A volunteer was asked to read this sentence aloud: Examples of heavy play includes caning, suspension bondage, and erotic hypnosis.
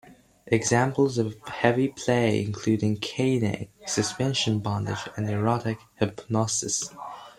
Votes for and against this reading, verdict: 2, 0, accepted